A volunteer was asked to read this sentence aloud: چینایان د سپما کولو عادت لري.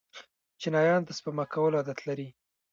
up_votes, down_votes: 1, 2